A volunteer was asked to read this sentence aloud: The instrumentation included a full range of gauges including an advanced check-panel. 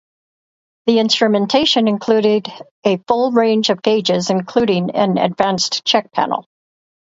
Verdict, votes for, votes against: rejected, 0, 4